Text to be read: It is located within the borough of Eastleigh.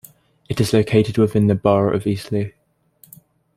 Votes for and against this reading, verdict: 2, 0, accepted